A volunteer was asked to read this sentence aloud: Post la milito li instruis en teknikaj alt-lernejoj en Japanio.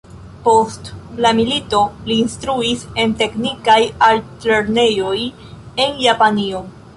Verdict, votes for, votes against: rejected, 0, 2